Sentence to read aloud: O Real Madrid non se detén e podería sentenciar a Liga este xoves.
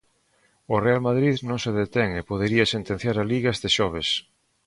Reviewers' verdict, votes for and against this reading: accepted, 2, 0